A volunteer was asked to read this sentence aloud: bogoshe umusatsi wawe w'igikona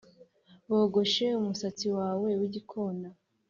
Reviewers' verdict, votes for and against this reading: accepted, 2, 0